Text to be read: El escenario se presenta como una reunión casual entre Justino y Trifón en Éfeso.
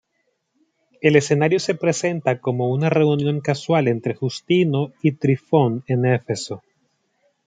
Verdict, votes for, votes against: accepted, 2, 0